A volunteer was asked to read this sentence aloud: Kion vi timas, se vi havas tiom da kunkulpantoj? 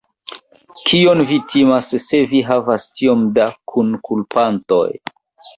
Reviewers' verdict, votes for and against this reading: rejected, 1, 2